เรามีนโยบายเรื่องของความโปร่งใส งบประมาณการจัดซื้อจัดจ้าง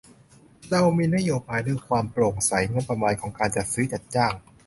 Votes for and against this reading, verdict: 0, 2, rejected